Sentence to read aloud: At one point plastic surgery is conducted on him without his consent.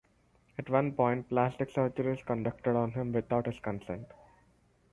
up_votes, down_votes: 4, 0